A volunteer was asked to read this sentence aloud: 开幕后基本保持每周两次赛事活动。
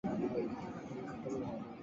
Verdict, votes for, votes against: rejected, 1, 3